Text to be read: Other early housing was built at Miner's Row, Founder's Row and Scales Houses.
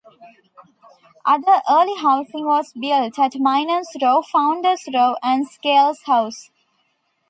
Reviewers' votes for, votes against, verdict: 0, 2, rejected